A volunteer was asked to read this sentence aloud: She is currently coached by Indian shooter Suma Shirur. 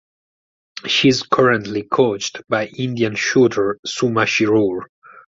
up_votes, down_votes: 4, 0